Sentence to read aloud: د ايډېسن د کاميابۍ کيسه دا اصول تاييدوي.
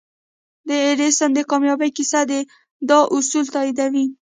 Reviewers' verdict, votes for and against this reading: rejected, 1, 2